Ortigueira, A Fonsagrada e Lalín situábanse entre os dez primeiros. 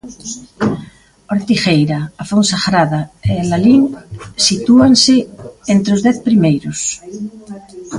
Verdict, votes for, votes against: rejected, 0, 2